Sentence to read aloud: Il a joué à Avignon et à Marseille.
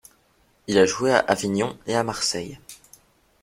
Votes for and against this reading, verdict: 2, 0, accepted